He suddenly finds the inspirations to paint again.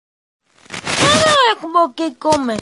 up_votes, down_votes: 0, 2